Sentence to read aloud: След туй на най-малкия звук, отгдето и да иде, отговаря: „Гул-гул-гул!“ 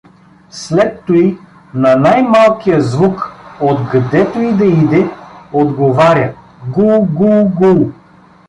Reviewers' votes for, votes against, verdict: 2, 0, accepted